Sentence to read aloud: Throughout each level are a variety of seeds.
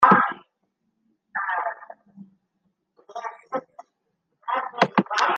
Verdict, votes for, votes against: rejected, 0, 2